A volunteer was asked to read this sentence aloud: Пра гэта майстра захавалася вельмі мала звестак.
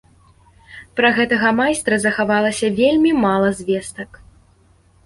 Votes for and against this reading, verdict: 2, 1, accepted